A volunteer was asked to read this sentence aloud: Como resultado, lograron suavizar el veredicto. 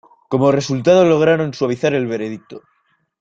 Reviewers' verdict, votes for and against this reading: accepted, 2, 0